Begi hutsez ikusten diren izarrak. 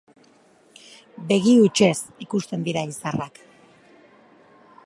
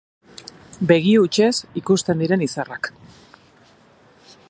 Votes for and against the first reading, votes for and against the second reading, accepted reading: 0, 4, 3, 0, second